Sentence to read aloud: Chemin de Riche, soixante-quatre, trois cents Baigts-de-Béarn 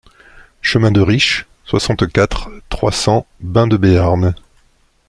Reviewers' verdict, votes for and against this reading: accepted, 2, 1